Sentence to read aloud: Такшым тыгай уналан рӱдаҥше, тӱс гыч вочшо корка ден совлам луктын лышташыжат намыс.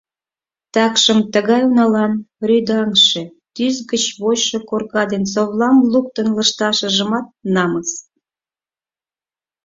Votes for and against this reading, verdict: 2, 4, rejected